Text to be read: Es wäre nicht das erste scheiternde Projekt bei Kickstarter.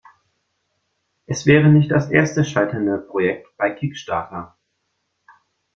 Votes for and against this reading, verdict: 2, 1, accepted